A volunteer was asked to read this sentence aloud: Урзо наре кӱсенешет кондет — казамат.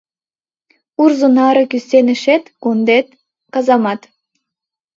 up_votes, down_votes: 2, 0